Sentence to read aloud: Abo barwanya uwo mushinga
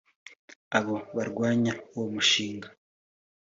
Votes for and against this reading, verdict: 2, 0, accepted